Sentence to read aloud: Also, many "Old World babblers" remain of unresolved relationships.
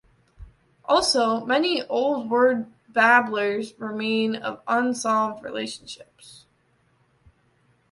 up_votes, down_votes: 0, 2